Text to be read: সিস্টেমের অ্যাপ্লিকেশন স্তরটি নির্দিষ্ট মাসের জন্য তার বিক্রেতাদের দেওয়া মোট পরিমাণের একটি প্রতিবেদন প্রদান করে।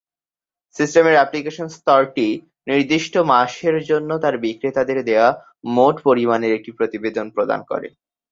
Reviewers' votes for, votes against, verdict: 4, 0, accepted